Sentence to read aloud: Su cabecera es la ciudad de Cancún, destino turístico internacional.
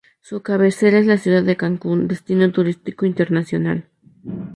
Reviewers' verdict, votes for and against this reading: accepted, 2, 0